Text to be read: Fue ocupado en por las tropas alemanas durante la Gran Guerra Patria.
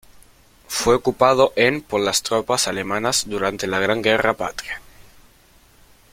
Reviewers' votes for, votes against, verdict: 1, 2, rejected